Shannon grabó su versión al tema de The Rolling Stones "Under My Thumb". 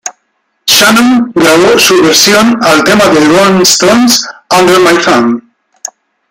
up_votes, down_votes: 1, 2